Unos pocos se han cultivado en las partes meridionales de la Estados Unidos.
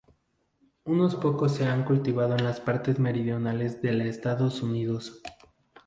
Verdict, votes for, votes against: rejected, 2, 2